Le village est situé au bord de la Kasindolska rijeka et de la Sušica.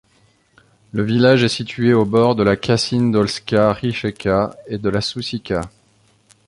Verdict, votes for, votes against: accepted, 2, 0